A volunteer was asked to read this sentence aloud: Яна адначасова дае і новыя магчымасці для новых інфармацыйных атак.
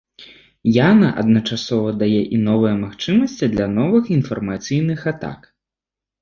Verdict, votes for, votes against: rejected, 0, 2